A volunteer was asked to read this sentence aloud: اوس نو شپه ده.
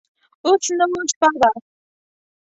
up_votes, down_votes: 0, 2